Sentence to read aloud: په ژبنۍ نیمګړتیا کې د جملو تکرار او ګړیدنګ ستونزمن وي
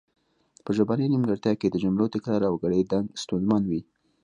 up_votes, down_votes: 2, 0